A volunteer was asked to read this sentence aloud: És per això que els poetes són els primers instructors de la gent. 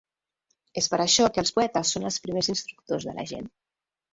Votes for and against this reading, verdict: 0, 2, rejected